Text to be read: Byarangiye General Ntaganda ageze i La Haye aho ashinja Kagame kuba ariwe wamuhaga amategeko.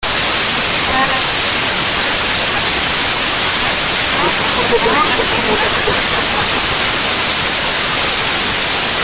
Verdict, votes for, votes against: rejected, 0, 2